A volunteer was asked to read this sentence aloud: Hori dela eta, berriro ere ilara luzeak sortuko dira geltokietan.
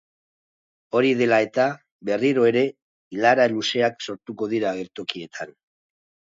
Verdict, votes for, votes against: accepted, 3, 0